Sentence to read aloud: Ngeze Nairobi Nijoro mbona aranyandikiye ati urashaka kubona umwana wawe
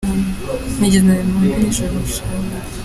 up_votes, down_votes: 0, 2